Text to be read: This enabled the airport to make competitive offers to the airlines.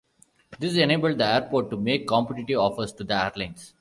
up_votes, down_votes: 0, 2